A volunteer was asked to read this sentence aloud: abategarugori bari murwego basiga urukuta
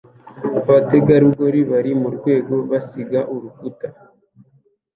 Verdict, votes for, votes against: accepted, 2, 0